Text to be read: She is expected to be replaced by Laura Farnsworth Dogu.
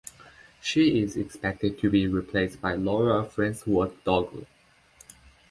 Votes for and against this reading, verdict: 2, 1, accepted